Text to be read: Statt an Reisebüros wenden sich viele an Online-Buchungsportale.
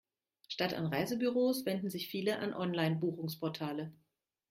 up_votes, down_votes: 2, 0